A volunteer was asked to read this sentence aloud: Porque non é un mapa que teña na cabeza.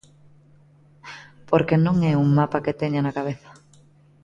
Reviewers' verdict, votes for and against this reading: accepted, 2, 0